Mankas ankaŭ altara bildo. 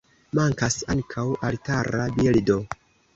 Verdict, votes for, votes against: rejected, 1, 2